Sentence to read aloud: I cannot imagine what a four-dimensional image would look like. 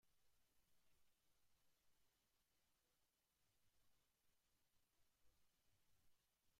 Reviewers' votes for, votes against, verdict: 0, 2, rejected